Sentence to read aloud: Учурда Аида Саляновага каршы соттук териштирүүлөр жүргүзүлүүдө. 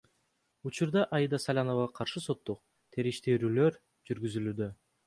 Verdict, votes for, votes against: rejected, 1, 2